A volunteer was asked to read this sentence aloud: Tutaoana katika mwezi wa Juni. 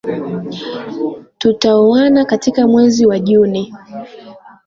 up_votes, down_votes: 2, 0